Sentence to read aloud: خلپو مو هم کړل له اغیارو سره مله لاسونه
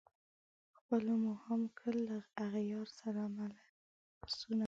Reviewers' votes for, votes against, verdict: 1, 2, rejected